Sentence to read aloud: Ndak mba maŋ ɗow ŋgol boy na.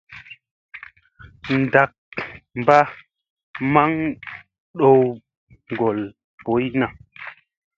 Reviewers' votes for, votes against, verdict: 2, 0, accepted